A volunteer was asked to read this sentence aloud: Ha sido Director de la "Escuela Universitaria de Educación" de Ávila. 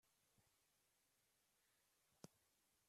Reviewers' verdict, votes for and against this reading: rejected, 0, 2